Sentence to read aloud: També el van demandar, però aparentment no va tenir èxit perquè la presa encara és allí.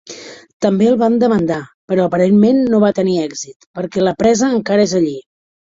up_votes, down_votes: 3, 0